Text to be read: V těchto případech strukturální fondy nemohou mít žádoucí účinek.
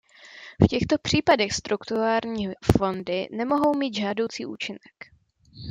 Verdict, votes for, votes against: rejected, 0, 2